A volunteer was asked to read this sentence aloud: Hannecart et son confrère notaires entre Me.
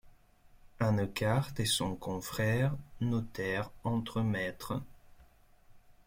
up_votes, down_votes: 1, 2